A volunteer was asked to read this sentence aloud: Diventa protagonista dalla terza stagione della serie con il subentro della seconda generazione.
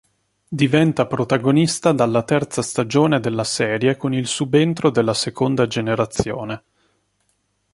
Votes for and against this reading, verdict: 3, 0, accepted